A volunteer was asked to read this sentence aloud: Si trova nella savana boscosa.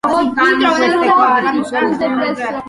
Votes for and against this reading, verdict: 0, 2, rejected